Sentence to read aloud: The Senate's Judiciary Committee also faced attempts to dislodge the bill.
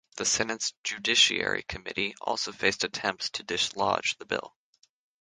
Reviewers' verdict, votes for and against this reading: accepted, 3, 0